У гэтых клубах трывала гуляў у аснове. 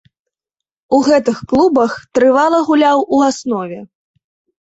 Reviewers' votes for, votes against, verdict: 2, 0, accepted